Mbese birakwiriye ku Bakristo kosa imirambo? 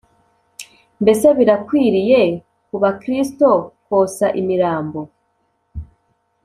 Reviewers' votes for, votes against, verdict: 2, 0, accepted